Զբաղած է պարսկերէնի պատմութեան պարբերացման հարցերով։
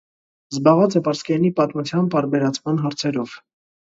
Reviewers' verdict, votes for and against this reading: accepted, 2, 0